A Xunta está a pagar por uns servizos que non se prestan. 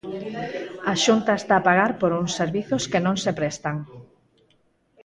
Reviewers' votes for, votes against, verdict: 2, 4, rejected